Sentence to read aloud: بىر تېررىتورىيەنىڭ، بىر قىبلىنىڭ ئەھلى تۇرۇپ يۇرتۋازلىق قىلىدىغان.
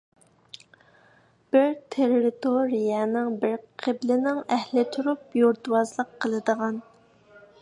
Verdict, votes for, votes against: accepted, 2, 0